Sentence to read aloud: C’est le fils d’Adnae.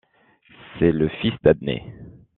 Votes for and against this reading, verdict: 2, 0, accepted